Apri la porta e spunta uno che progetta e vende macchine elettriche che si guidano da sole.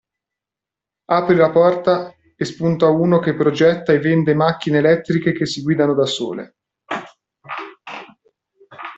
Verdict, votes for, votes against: accepted, 2, 0